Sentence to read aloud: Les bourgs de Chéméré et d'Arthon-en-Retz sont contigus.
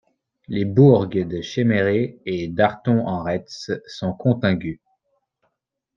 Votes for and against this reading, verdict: 0, 2, rejected